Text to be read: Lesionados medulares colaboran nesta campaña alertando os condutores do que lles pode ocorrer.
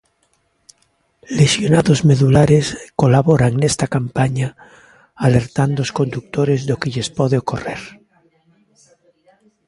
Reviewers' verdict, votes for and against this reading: accepted, 2, 0